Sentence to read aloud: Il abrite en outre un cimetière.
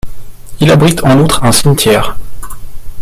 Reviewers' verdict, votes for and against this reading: rejected, 3, 4